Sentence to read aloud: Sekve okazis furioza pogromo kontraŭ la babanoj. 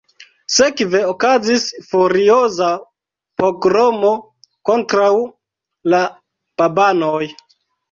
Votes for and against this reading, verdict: 1, 2, rejected